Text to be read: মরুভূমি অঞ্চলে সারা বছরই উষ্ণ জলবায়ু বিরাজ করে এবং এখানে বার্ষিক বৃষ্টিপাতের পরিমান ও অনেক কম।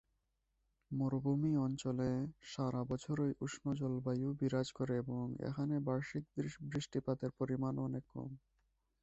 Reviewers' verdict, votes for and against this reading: rejected, 1, 2